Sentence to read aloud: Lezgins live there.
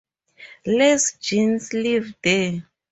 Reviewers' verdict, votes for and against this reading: accepted, 4, 2